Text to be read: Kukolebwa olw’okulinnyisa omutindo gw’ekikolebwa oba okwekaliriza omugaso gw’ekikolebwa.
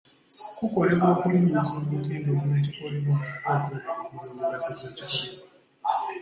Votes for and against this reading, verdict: 0, 2, rejected